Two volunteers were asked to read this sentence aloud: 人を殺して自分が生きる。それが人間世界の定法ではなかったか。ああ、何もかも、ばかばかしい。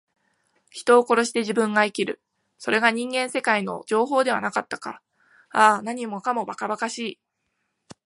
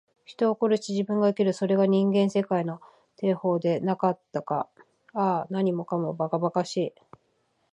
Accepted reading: first